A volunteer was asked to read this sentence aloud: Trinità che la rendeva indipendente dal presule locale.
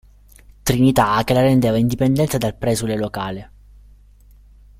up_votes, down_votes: 0, 2